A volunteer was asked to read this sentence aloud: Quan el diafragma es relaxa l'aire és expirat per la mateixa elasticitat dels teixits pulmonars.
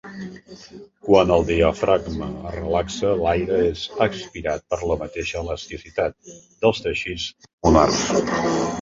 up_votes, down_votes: 1, 2